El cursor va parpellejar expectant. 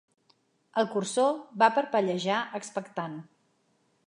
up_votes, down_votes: 4, 0